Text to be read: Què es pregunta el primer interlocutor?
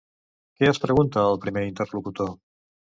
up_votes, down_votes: 2, 0